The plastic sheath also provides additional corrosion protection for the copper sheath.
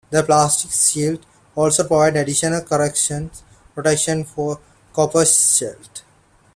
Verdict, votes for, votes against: rejected, 0, 2